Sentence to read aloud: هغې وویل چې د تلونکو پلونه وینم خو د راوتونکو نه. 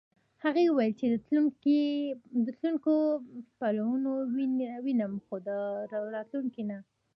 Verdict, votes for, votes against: accepted, 2, 0